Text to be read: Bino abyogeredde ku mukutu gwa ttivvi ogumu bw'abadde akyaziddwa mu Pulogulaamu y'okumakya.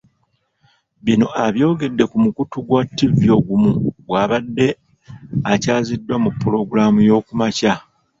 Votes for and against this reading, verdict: 1, 2, rejected